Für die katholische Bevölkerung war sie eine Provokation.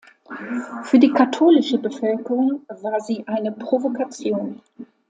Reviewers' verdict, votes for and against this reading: accepted, 2, 0